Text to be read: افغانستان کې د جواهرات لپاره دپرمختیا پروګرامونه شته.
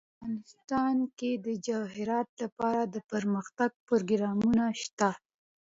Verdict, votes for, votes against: rejected, 0, 2